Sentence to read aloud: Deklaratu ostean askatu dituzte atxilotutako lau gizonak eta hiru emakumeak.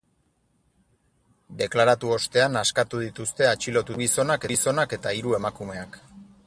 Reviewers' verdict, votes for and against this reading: rejected, 2, 6